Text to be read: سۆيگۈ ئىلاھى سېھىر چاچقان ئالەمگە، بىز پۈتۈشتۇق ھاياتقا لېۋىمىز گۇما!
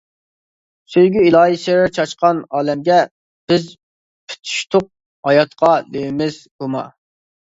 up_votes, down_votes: 0, 2